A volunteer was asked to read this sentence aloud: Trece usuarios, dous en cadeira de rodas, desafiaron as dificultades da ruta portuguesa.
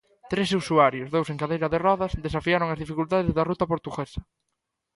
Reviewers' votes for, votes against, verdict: 2, 0, accepted